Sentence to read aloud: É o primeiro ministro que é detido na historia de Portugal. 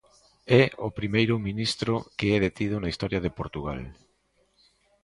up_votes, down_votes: 2, 0